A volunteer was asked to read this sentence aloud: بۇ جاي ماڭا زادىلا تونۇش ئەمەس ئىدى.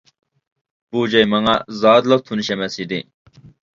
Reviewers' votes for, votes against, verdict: 2, 0, accepted